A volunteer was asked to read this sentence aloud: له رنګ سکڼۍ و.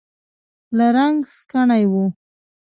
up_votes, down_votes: 0, 2